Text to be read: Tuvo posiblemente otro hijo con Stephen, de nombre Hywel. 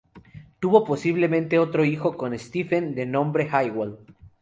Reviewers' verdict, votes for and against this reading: accepted, 2, 0